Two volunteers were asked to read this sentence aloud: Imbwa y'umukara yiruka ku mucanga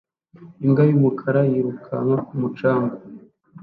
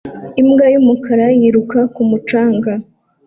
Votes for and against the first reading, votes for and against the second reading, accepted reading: 1, 2, 2, 0, second